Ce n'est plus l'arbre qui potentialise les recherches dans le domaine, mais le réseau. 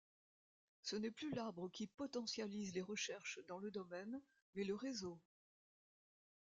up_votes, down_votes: 2, 1